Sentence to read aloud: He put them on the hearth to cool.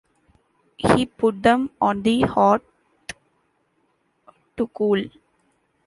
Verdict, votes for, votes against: rejected, 0, 2